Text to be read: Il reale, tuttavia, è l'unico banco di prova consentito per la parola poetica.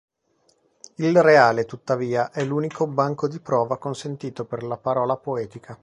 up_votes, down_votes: 3, 0